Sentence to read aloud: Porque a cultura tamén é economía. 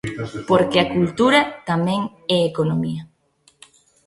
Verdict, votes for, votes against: accepted, 2, 1